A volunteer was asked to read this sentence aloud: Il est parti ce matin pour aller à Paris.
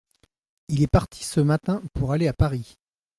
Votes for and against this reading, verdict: 2, 0, accepted